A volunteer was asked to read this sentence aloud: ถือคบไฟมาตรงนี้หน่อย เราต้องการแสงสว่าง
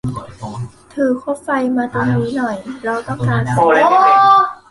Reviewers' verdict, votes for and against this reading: rejected, 0, 2